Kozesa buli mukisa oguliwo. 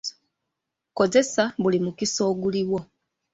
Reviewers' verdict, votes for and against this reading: accepted, 2, 0